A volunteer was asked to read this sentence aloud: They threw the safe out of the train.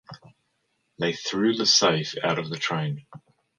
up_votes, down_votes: 2, 0